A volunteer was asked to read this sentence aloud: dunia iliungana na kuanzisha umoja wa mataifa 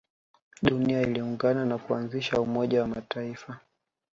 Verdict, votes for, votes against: accepted, 2, 1